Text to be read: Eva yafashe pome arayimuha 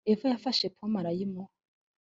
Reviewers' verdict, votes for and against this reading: accepted, 2, 0